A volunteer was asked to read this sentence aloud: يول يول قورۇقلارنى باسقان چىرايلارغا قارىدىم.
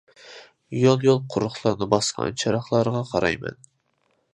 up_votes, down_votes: 0, 2